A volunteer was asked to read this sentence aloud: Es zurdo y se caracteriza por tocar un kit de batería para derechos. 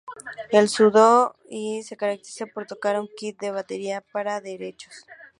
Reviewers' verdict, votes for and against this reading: rejected, 0, 2